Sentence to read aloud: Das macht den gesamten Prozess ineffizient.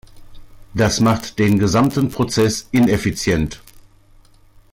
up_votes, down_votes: 2, 0